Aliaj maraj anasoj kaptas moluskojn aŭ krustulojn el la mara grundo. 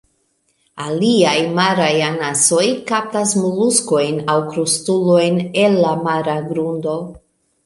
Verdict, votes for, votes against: accepted, 2, 0